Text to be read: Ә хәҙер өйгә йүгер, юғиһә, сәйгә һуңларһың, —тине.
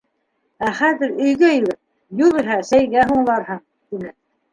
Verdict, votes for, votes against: rejected, 0, 2